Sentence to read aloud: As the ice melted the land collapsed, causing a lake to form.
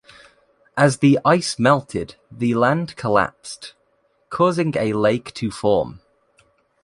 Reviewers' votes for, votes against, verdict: 2, 0, accepted